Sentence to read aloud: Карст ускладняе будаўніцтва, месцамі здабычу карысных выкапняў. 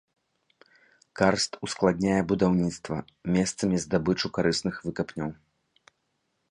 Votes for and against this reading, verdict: 2, 0, accepted